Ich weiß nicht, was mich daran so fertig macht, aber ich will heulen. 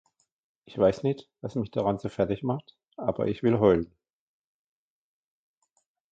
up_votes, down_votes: 1, 2